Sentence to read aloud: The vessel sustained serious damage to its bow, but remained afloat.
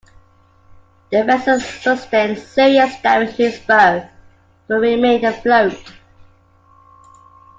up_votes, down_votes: 1, 2